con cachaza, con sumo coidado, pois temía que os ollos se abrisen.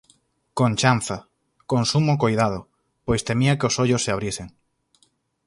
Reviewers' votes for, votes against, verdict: 0, 4, rejected